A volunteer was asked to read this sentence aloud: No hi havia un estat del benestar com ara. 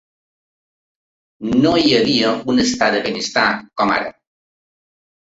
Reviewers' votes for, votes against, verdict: 2, 0, accepted